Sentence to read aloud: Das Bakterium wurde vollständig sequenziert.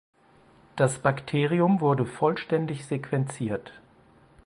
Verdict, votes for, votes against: accepted, 4, 0